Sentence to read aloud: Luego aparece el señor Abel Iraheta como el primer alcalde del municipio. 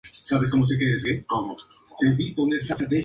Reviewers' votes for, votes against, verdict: 0, 2, rejected